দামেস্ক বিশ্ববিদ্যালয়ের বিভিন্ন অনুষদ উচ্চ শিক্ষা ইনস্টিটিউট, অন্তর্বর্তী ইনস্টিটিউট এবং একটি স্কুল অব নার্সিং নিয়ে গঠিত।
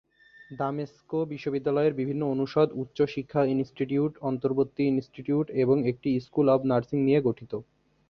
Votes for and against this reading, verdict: 0, 2, rejected